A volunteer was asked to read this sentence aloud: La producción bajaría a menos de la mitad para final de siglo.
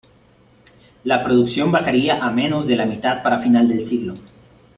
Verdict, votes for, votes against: rejected, 0, 2